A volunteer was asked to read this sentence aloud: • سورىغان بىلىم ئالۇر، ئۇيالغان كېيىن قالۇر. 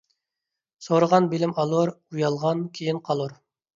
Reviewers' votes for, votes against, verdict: 2, 0, accepted